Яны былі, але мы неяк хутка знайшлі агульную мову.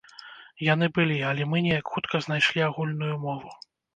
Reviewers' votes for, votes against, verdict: 2, 0, accepted